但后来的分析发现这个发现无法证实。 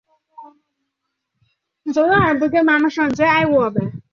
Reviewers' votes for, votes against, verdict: 1, 4, rejected